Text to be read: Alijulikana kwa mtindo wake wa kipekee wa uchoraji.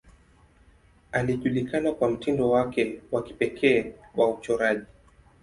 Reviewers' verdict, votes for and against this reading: accepted, 2, 0